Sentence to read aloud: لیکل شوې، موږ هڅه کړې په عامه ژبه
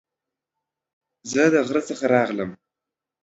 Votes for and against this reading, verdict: 0, 2, rejected